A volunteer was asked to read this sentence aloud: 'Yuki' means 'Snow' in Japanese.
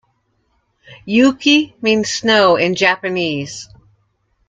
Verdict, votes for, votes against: accepted, 2, 0